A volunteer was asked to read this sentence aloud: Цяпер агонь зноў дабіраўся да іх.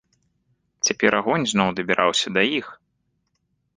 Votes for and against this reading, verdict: 2, 0, accepted